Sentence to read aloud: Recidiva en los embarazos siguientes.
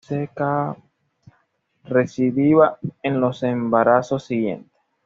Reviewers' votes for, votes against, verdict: 1, 2, rejected